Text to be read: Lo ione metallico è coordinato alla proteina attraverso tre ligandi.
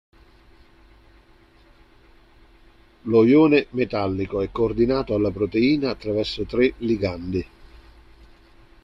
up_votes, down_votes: 2, 0